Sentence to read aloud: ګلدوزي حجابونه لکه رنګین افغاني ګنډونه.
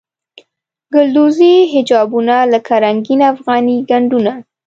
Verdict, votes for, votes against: accepted, 2, 0